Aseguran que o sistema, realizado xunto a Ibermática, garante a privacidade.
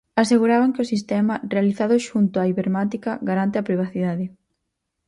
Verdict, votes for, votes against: accepted, 4, 0